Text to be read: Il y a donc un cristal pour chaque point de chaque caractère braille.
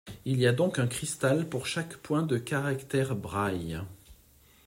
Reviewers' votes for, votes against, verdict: 0, 2, rejected